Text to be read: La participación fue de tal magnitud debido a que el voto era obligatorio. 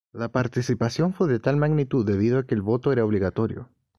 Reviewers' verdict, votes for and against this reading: accepted, 2, 0